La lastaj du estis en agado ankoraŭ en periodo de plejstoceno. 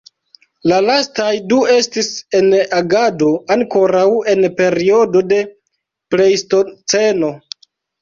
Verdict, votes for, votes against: rejected, 1, 2